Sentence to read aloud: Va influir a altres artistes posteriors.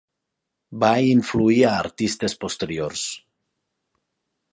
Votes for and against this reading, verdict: 1, 2, rejected